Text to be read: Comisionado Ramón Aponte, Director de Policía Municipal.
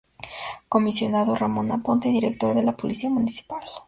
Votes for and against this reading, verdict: 2, 0, accepted